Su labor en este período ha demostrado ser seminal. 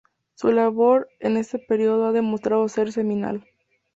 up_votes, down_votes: 2, 0